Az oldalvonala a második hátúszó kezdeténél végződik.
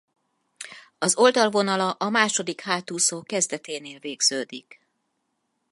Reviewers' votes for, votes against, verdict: 4, 0, accepted